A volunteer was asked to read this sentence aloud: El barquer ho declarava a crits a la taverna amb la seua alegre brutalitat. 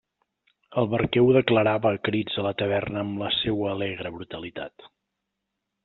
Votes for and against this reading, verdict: 2, 0, accepted